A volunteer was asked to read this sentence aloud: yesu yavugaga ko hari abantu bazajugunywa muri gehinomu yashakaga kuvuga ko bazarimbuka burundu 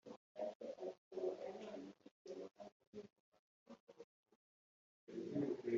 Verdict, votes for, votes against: rejected, 0, 2